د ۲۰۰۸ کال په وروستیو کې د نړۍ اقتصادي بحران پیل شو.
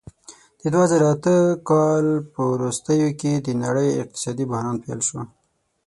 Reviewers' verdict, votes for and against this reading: rejected, 0, 2